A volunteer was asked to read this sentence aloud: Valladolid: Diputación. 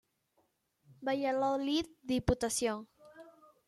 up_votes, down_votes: 1, 2